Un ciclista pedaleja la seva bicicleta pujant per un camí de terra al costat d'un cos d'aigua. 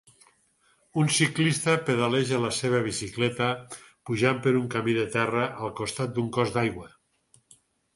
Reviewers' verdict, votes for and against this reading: accepted, 6, 0